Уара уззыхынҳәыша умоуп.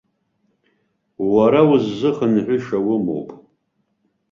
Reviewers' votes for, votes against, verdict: 2, 0, accepted